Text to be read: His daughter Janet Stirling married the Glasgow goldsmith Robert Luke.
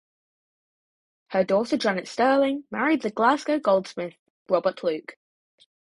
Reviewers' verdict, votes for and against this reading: rejected, 2, 4